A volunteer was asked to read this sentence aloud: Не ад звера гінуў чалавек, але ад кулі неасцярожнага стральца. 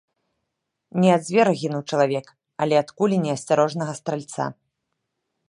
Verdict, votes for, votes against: accepted, 2, 0